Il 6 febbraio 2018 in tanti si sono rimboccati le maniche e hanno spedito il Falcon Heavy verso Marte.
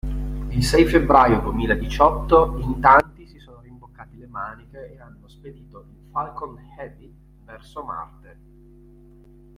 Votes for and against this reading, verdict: 0, 2, rejected